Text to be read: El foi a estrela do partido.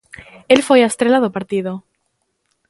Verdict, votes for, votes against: accepted, 2, 0